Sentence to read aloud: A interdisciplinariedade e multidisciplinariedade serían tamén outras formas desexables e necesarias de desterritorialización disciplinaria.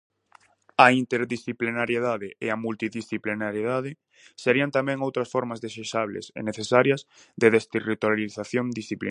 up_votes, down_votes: 0, 4